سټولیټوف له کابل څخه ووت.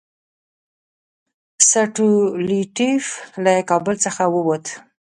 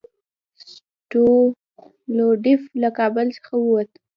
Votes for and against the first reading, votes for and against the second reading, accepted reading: 2, 0, 1, 2, first